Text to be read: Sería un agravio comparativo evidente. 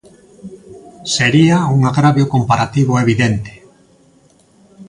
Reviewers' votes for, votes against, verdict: 2, 0, accepted